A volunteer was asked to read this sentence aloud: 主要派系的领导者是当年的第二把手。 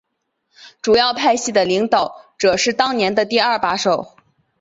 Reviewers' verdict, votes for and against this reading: rejected, 1, 2